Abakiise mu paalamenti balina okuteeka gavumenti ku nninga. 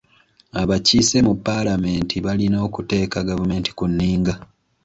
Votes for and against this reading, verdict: 2, 0, accepted